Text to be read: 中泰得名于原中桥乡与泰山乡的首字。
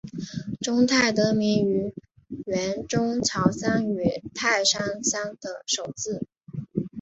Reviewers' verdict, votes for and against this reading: accepted, 4, 0